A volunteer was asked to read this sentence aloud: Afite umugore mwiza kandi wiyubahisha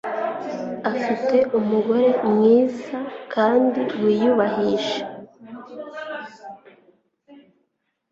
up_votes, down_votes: 2, 0